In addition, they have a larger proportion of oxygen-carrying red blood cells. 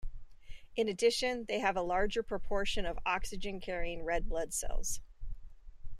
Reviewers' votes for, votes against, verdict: 2, 0, accepted